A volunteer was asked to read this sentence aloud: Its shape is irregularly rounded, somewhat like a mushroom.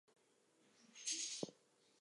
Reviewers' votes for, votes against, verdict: 0, 2, rejected